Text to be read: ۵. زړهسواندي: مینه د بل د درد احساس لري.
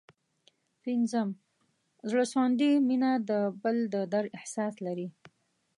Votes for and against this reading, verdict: 0, 2, rejected